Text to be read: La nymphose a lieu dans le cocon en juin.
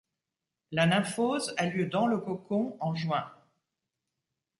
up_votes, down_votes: 2, 0